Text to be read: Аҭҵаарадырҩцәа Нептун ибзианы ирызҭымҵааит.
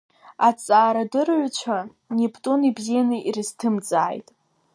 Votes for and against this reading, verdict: 2, 0, accepted